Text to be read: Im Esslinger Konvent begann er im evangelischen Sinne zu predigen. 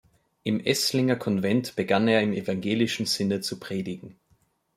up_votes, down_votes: 2, 0